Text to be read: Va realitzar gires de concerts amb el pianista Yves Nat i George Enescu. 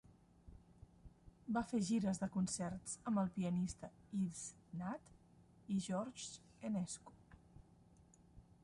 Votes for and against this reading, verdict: 0, 2, rejected